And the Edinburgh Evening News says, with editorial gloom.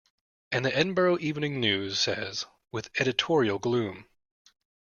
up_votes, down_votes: 2, 0